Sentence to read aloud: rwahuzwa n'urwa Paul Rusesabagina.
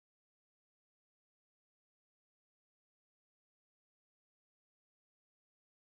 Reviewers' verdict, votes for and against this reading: rejected, 0, 2